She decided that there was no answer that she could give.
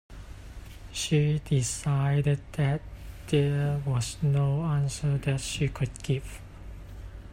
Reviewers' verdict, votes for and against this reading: accepted, 2, 1